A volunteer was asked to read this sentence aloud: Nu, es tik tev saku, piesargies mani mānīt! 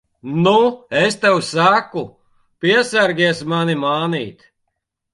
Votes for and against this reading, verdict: 0, 2, rejected